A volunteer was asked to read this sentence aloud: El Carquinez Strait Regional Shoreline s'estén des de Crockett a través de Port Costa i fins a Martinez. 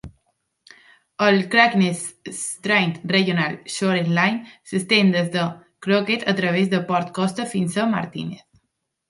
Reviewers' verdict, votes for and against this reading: rejected, 0, 2